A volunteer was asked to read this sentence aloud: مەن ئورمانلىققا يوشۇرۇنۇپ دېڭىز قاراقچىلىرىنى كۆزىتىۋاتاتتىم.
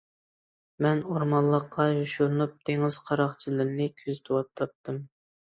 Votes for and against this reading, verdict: 2, 0, accepted